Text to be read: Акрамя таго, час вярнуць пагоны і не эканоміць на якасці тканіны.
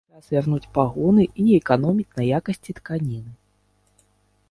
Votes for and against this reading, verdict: 1, 2, rejected